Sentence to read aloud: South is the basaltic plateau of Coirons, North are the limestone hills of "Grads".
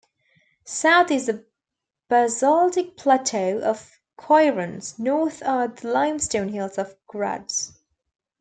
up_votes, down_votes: 2, 0